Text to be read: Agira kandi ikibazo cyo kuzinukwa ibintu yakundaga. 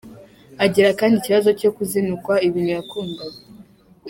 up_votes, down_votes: 2, 1